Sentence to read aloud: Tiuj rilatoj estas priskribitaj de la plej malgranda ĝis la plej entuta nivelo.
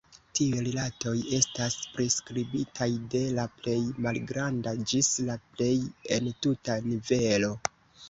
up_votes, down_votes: 1, 2